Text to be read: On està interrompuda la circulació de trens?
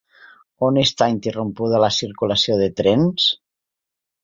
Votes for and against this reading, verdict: 2, 0, accepted